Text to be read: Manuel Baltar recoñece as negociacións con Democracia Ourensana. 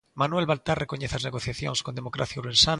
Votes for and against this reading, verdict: 0, 2, rejected